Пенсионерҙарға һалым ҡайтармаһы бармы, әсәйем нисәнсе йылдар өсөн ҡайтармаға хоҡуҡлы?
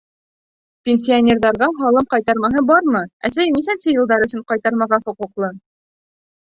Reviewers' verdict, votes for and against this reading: rejected, 1, 2